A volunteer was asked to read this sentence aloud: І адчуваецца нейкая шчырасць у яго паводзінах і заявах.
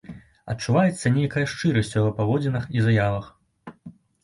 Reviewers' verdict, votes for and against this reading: rejected, 0, 2